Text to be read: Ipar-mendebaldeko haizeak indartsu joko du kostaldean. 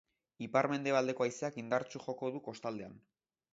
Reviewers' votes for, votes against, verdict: 2, 0, accepted